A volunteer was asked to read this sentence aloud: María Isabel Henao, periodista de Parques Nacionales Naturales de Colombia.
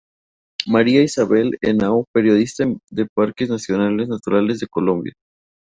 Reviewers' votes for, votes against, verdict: 2, 0, accepted